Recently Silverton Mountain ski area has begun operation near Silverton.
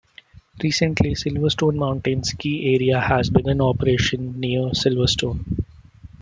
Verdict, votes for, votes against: rejected, 0, 2